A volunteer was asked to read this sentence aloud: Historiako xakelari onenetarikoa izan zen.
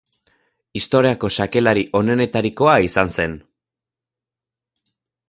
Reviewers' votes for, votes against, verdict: 2, 0, accepted